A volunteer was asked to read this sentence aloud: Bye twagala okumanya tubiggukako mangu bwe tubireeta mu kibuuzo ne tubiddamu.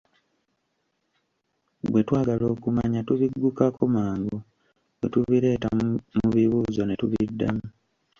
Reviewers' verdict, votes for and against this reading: rejected, 0, 2